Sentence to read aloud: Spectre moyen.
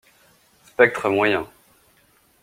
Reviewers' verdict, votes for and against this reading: accepted, 2, 0